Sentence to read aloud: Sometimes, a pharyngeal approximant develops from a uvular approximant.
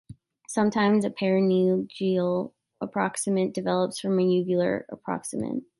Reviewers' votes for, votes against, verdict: 0, 2, rejected